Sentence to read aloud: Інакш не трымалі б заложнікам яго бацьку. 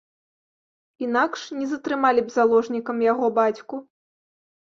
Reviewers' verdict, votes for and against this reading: rejected, 1, 2